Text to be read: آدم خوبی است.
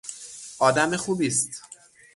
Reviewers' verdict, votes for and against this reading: rejected, 0, 6